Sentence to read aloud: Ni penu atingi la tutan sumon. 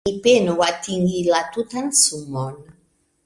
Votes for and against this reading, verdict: 3, 1, accepted